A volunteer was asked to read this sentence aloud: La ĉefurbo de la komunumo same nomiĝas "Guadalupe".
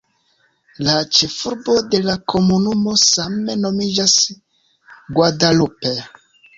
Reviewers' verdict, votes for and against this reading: accepted, 2, 0